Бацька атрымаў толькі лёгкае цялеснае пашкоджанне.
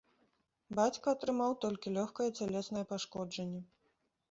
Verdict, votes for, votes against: accepted, 2, 0